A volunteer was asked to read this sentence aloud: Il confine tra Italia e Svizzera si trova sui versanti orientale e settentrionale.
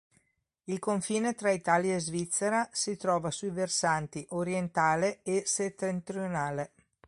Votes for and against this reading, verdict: 3, 0, accepted